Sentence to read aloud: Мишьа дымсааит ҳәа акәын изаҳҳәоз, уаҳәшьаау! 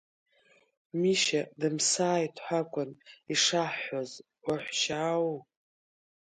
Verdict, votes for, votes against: rejected, 1, 2